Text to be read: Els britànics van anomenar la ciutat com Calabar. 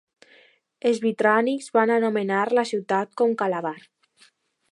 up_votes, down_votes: 0, 2